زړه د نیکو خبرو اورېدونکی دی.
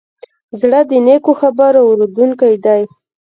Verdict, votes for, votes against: rejected, 1, 2